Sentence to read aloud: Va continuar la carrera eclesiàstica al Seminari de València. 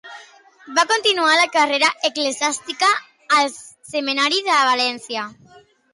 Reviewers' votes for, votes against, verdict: 2, 1, accepted